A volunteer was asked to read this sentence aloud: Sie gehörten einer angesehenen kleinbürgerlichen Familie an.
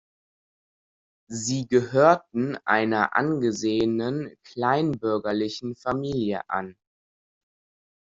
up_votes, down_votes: 2, 0